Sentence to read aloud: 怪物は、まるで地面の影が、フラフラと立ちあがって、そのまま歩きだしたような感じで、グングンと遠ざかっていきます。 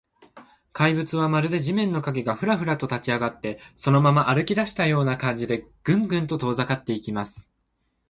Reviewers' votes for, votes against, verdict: 2, 0, accepted